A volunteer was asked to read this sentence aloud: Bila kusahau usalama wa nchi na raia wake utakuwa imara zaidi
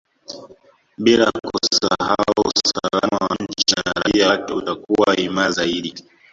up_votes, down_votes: 0, 2